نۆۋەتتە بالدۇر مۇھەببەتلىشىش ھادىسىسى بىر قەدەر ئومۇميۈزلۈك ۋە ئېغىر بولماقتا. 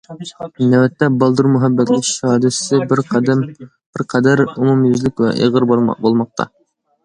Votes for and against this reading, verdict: 0, 2, rejected